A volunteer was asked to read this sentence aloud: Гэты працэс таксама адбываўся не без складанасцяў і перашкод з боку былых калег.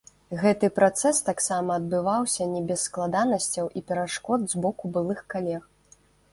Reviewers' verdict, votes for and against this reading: rejected, 0, 2